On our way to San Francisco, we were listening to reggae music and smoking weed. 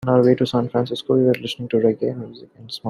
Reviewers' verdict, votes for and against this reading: rejected, 0, 2